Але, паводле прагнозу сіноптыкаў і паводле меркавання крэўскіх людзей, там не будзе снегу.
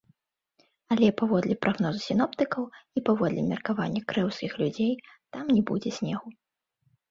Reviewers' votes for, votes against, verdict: 1, 2, rejected